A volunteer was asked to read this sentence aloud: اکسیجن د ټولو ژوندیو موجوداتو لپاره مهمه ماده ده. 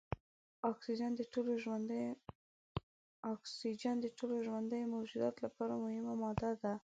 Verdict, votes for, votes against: rejected, 0, 2